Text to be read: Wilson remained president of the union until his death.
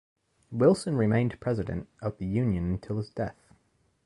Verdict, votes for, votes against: accepted, 2, 0